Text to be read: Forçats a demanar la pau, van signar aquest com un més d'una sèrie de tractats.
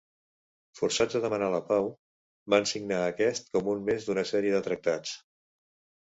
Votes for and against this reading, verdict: 2, 0, accepted